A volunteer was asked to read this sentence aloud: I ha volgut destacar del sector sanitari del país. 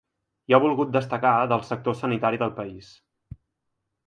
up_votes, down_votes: 2, 0